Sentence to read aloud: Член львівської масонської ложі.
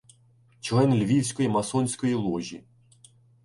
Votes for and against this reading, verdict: 2, 0, accepted